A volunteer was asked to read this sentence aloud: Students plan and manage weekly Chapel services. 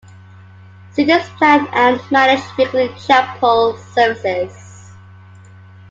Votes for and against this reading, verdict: 0, 2, rejected